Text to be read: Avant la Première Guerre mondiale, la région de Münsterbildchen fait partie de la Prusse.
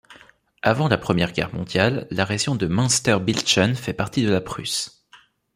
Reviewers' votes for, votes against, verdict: 1, 2, rejected